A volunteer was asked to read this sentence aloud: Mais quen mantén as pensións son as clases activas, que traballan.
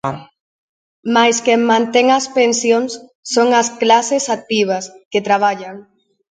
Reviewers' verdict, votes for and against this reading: accepted, 2, 0